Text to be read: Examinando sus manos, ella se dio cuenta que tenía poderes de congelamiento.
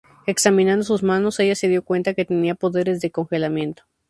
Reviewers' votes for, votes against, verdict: 2, 0, accepted